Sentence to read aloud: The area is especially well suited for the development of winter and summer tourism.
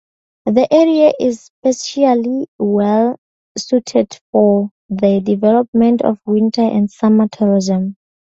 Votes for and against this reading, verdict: 2, 0, accepted